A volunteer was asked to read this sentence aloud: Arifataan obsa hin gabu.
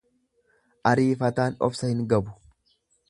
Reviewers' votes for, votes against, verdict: 0, 2, rejected